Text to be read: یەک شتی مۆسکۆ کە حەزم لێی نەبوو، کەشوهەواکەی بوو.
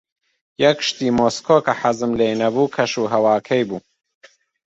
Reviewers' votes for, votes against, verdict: 2, 0, accepted